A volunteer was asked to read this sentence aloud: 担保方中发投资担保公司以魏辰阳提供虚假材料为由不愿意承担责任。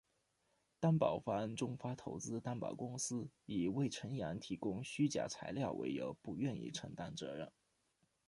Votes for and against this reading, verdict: 2, 0, accepted